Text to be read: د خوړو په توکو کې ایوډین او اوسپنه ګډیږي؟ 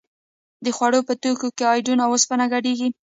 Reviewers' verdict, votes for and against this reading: accepted, 2, 0